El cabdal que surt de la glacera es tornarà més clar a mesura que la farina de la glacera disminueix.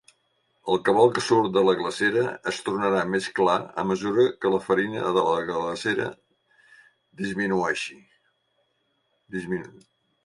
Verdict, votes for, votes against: rejected, 1, 5